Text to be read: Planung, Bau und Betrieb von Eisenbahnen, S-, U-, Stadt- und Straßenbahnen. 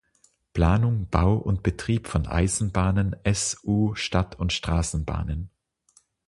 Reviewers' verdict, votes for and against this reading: accepted, 6, 0